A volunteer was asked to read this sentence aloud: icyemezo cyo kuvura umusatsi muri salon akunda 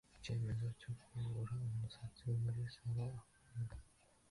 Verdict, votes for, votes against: accepted, 2, 1